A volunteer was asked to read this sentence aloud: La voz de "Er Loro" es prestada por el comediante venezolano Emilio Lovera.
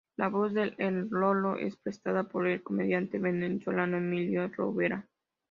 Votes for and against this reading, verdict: 2, 0, accepted